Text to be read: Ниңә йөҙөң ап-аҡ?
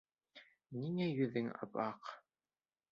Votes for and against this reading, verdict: 2, 0, accepted